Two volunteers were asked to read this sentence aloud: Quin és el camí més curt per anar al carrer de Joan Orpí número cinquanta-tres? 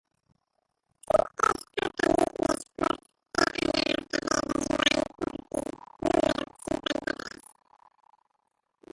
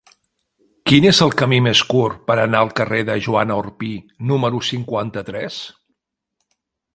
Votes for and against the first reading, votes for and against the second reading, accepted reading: 0, 2, 3, 1, second